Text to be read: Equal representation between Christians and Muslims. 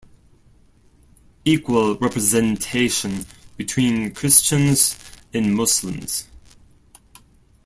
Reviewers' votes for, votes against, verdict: 2, 0, accepted